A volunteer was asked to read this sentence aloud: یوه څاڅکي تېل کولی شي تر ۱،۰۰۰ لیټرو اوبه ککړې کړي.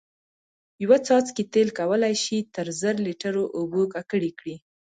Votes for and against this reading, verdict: 0, 2, rejected